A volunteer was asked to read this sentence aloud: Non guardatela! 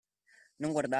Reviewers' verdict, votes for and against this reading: rejected, 0, 2